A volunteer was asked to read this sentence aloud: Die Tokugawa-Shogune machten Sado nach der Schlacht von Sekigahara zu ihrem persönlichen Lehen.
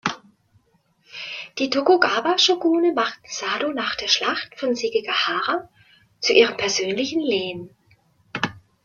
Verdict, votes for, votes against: accepted, 2, 0